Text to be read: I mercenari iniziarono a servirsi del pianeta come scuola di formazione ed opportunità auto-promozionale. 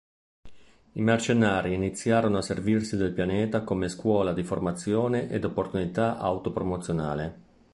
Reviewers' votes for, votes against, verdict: 2, 0, accepted